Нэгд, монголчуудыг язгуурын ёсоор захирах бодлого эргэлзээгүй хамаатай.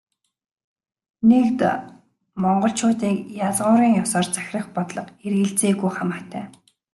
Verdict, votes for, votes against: accepted, 2, 1